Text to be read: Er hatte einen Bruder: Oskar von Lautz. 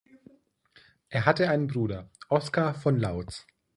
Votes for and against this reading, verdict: 2, 0, accepted